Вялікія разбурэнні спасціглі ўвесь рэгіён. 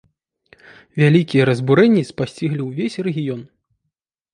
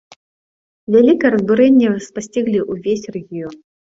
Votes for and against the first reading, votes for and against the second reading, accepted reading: 2, 0, 0, 2, first